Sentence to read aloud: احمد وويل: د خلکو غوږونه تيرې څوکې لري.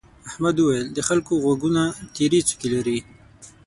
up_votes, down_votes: 6, 0